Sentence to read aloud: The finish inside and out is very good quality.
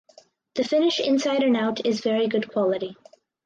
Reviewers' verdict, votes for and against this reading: accepted, 4, 0